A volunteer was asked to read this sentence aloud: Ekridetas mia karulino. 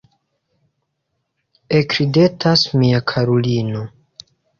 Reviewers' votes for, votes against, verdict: 2, 0, accepted